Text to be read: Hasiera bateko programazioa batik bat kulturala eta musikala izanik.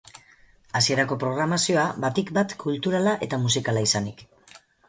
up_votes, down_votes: 2, 4